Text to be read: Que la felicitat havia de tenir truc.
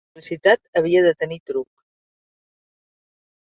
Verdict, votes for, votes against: rejected, 0, 2